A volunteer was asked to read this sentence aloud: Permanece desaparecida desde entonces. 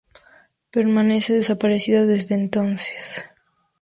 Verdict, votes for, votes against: accepted, 2, 0